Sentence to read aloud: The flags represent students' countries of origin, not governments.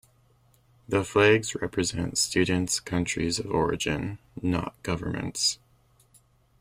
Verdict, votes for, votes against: accepted, 2, 1